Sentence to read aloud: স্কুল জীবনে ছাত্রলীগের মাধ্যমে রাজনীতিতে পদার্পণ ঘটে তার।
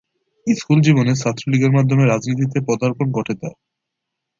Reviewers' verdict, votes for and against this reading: accepted, 2, 0